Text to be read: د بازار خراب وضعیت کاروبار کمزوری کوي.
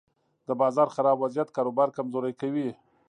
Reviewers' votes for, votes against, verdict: 3, 0, accepted